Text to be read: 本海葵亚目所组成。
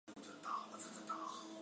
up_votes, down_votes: 0, 3